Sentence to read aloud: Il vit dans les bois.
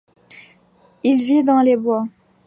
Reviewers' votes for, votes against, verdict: 2, 0, accepted